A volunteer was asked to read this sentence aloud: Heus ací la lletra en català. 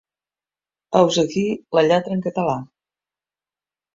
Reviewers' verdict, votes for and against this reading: accepted, 2, 0